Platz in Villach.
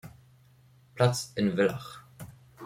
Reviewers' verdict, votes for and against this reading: rejected, 1, 2